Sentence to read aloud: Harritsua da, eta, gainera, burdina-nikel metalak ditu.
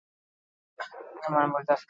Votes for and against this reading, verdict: 0, 10, rejected